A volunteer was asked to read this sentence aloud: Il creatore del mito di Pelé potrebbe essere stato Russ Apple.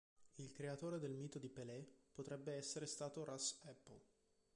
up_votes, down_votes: 0, 2